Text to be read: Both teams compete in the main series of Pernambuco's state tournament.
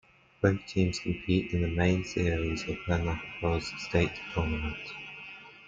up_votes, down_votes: 0, 2